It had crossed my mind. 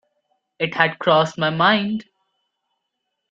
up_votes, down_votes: 2, 1